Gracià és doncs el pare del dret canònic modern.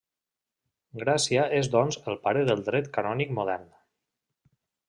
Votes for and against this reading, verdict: 0, 2, rejected